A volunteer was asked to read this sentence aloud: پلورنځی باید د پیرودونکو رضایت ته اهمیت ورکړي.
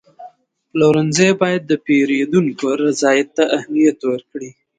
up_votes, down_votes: 2, 0